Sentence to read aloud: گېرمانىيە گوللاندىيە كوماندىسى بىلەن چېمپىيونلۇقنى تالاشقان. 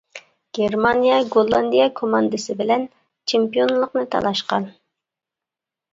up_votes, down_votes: 2, 0